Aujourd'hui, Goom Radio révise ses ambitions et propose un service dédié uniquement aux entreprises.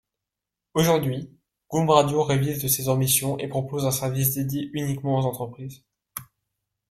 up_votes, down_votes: 2, 0